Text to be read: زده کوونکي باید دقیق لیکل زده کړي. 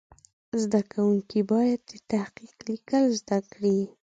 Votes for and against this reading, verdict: 2, 0, accepted